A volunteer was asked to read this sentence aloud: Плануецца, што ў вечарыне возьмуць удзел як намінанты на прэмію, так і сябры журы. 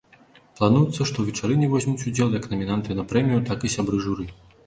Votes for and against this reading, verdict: 1, 2, rejected